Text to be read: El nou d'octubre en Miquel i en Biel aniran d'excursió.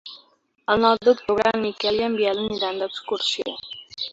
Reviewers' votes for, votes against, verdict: 2, 1, accepted